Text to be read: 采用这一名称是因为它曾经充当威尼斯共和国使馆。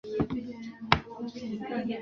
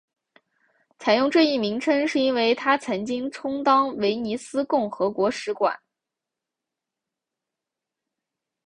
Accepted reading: second